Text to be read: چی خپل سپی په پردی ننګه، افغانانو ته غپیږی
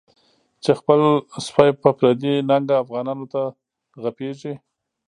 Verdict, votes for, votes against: rejected, 0, 2